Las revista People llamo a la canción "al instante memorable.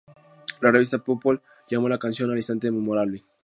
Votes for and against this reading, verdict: 2, 0, accepted